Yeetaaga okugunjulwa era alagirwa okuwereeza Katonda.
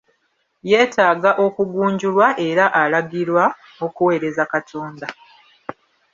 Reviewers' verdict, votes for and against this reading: accepted, 2, 1